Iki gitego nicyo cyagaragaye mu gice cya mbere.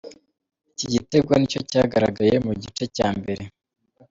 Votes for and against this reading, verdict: 2, 0, accepted